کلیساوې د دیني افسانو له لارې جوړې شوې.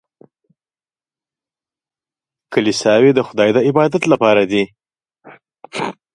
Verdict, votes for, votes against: rejected, 0, 2